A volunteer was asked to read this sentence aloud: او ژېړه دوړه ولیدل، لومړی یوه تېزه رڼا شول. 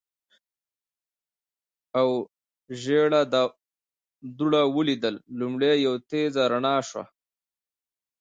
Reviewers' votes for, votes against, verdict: 2, 0, accepted